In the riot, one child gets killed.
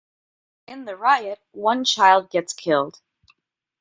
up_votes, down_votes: 2, 0